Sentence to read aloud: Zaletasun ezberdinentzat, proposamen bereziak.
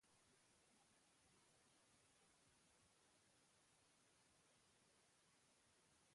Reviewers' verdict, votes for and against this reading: rejected, 0, 3